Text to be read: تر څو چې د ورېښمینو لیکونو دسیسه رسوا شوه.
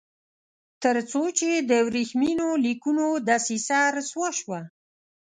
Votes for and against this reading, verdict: 1, 2, rejected